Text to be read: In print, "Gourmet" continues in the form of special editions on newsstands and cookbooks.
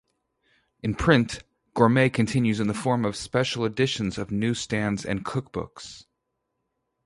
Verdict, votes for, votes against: rejected, 0, 2